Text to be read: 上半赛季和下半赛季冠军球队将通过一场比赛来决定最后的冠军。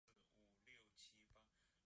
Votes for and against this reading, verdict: 0, 2, rejected